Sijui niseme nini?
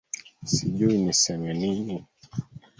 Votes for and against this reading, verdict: 0, 2, rejected